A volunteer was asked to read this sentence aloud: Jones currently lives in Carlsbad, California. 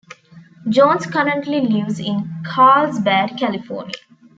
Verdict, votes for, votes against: accepted, 2, 0